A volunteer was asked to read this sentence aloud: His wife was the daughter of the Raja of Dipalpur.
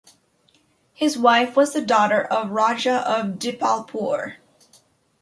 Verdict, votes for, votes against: rejected, 0, 2